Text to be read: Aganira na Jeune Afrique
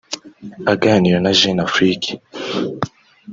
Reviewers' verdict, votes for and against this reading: accepted, 2, 0